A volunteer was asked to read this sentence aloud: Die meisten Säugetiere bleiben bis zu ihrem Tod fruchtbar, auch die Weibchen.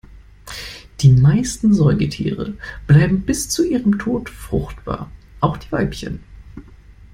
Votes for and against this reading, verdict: 2, 0, accepted